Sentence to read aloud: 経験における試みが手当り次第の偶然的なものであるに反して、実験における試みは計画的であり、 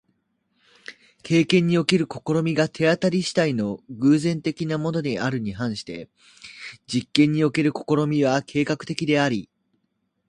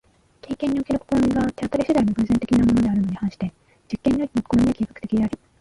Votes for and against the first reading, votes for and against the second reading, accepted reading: 3, 0, 0, 2, first